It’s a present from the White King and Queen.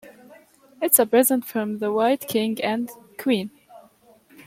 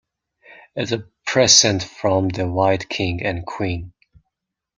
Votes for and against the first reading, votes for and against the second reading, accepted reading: 2, 0, 1, 2, first